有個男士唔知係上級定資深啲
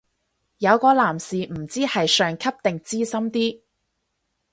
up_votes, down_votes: 6, 0